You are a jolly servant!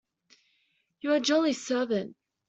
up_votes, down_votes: 2, 1